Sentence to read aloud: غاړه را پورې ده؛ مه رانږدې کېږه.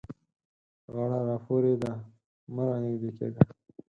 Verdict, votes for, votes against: accepted, 4, 0